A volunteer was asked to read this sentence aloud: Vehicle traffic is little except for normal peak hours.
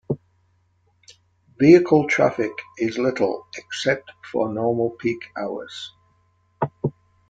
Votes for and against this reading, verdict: 3, 0, accepted